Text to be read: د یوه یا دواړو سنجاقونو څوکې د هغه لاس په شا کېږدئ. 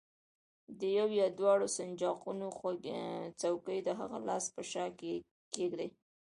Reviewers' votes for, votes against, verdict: 2, 0, accepted